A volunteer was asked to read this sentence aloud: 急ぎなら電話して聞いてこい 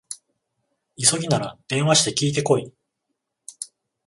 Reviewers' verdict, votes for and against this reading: accepted, 14, 7